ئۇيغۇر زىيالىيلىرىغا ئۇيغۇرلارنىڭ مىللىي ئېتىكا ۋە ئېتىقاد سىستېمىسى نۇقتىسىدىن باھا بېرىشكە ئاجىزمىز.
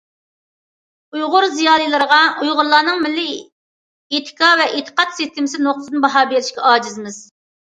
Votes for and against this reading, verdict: 2, 0, accepted